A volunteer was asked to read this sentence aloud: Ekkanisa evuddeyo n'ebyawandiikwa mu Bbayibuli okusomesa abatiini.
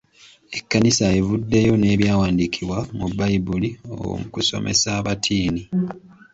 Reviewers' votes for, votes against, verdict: 2, 0, accepted